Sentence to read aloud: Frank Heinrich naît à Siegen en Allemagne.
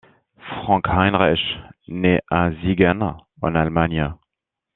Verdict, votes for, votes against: accepted, 2, 0